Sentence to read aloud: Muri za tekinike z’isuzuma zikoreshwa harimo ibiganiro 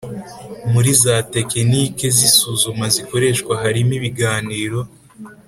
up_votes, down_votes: 3, 0